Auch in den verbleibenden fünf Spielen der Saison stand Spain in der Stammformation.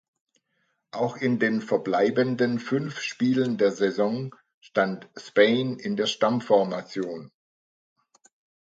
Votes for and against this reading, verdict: 2, 0, accepted